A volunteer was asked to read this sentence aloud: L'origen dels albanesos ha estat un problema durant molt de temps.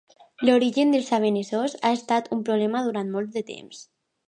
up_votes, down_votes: 2, 1